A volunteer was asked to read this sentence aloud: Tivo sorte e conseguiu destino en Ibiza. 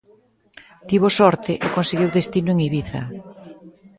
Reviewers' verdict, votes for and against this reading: accepted, 2, 0